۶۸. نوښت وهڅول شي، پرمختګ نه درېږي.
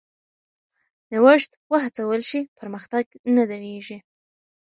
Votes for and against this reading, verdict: 0, 2, rejected